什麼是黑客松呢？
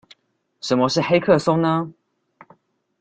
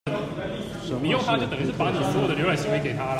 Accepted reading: first